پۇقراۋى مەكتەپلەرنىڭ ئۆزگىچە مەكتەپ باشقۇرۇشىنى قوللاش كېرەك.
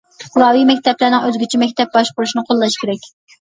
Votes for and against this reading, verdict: 2, 0, accepted